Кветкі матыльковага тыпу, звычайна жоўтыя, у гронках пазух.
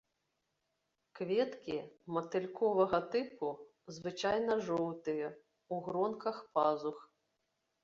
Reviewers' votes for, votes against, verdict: 3, 0, accepted